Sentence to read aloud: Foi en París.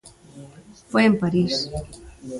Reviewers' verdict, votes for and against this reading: accepted, 2, 0